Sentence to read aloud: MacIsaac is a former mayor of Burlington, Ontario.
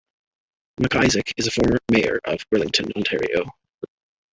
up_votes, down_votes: 0, 2